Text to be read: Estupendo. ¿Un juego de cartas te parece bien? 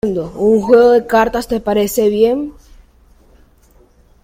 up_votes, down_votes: 1, 2